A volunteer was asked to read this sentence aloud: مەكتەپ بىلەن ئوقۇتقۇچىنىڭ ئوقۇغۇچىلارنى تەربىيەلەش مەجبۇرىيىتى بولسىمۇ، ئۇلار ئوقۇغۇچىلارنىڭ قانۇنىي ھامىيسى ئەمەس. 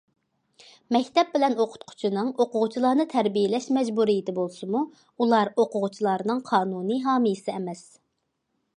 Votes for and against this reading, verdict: 2, 0, accepted